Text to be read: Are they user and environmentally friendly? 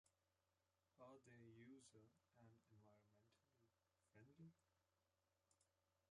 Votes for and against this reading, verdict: 0, 2, rejected